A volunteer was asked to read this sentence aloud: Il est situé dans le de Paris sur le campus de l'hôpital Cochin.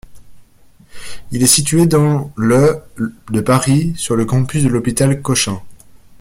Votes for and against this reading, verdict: 2, 0, accepted